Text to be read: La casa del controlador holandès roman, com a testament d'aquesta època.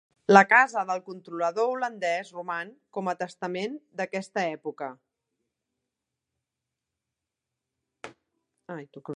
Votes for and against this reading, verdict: 1, 2, rejected